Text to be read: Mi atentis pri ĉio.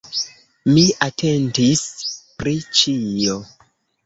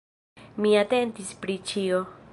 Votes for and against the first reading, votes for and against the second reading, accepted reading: 1, 2, 2, 0, second